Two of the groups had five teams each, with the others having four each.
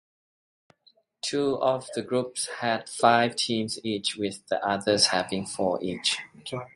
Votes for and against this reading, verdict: 2, 0, accepted